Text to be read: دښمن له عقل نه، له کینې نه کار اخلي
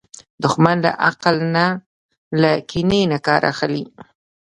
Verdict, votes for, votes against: accepted, 2, 0